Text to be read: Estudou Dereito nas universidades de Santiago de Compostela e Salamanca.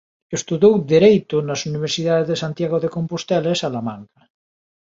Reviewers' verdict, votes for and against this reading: accepted, 2, 0